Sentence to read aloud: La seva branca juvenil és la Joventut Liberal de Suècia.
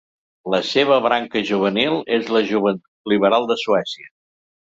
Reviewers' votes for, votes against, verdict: 0, 2, rejected